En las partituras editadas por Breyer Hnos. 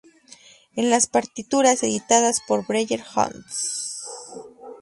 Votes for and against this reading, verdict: 2, 0, accepted